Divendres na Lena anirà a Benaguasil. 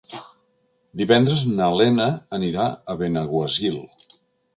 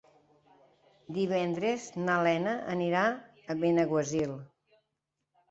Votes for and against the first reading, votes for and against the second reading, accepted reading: 1, 2, 2, 0, second